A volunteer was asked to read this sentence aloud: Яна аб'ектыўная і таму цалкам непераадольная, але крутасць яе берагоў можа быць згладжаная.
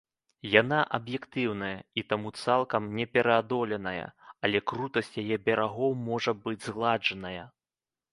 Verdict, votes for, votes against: rejected, 0, 2